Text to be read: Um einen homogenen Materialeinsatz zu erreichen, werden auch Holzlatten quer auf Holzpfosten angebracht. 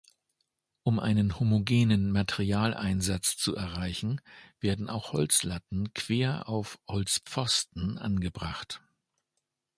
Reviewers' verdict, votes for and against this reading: accepted, 2, 0